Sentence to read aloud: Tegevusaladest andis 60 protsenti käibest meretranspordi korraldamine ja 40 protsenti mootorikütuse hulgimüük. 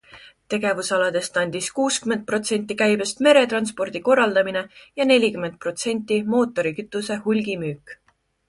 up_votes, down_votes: 0, 2